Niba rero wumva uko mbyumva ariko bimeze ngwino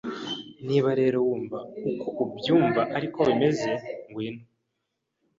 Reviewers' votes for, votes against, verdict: 0, 2, rejected